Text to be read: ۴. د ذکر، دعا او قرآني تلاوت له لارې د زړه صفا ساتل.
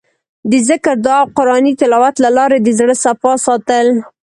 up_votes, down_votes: 0, 2